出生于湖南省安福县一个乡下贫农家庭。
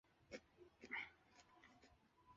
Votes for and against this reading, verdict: 0, 3, rejected